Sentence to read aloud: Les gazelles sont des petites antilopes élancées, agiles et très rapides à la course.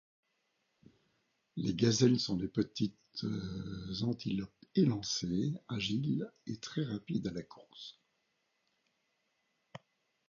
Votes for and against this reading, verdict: 2, 0, accepted